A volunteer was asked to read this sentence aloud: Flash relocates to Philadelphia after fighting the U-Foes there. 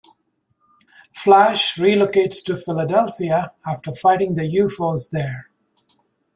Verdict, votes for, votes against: accepted, 2, 0